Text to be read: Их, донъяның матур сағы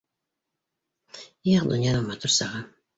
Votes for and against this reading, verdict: 2, 0, accepted